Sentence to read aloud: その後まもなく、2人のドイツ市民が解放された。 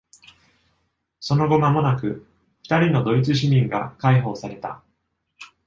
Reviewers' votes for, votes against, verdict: 0, 2, rejected